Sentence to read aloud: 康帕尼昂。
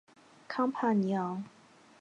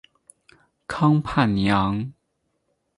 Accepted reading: first